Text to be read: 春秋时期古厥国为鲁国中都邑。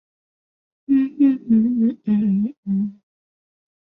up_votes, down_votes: 0, 2